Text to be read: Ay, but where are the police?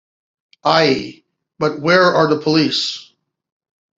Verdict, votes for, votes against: accepted, 2, 0